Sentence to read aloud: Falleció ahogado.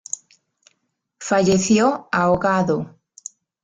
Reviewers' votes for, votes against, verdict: 2, 0, accepted